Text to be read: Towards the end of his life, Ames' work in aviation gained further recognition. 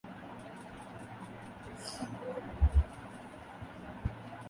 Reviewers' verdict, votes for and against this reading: rejected, 0, 2